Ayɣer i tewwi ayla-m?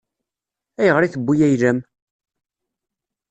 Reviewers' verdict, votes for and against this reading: accepted, 2, 0